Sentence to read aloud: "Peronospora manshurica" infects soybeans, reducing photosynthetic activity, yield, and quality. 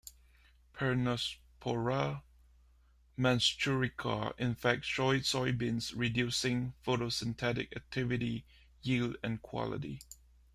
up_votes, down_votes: 0, 2